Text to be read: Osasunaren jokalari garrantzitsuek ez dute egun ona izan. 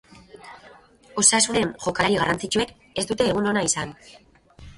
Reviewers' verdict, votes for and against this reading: rejected, 2, 2